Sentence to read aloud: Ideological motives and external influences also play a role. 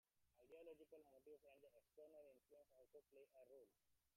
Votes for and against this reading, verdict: 0, 2, rejected